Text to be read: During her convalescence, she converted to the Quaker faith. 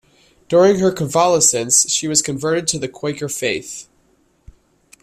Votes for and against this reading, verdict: 0, 2, rejected